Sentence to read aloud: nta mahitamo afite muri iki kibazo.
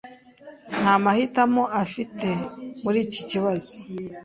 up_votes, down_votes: 2, 0